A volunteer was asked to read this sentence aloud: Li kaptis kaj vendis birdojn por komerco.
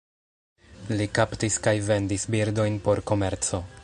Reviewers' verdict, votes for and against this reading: rejected, 0, 2